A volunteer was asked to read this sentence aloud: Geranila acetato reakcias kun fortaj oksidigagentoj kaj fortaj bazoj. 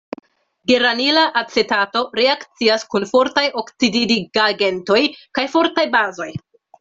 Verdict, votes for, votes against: rejected, 0, 2